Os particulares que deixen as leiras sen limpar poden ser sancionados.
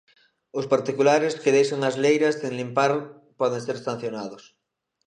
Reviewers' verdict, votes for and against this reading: accepted, 2, 0